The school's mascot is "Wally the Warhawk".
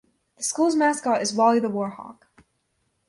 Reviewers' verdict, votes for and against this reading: accepted, 2, 0